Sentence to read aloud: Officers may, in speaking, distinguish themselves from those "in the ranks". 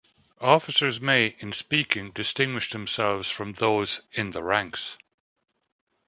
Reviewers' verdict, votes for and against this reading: accepted, 2, 0